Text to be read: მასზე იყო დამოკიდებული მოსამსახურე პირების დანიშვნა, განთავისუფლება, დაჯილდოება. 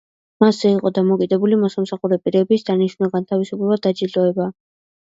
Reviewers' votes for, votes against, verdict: 2, 0, accepted